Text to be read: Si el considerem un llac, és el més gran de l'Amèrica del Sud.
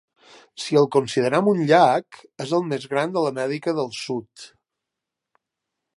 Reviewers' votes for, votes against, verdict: 2, 0, accepted